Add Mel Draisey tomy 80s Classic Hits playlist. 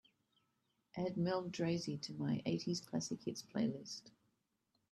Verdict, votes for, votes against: rejected, 0, 2